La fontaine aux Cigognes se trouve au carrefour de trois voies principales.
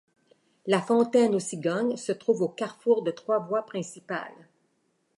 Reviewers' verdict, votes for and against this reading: accepted, 2, 0